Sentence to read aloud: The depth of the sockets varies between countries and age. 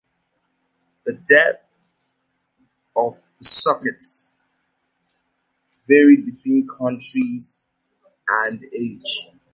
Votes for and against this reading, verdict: 0, 2, rejected